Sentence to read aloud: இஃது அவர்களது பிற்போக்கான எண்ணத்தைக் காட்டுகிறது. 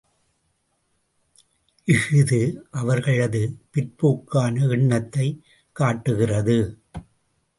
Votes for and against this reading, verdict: 1, 2, rejected